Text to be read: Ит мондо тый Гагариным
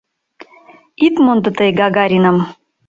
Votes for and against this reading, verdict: 2, 0, accepted